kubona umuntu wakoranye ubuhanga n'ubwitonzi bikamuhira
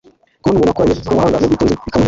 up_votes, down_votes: 1, 2